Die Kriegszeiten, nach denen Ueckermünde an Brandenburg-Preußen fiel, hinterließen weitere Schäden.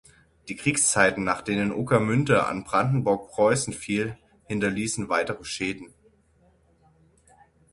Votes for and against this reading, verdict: 6, 0, accepted